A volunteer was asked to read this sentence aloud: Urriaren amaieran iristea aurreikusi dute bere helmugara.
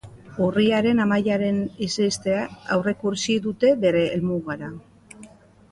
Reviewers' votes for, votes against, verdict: 0, 2, rejected